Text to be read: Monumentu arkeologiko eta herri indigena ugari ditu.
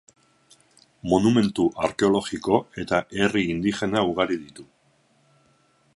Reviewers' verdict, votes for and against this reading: accepted, 4, 2